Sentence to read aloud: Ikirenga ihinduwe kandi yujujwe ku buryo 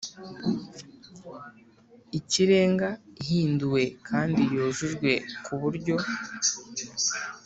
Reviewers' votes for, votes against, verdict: 2, 0, accepted